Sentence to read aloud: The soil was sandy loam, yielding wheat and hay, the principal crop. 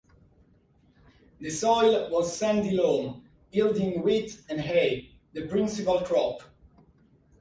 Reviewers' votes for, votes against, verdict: 4, 0, accepted